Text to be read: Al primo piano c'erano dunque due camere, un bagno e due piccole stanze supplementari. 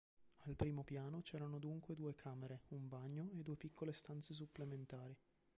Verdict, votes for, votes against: rejected, 1, 2